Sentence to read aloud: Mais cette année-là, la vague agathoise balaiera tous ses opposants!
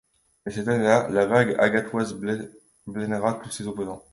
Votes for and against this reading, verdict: 0, 2, rejected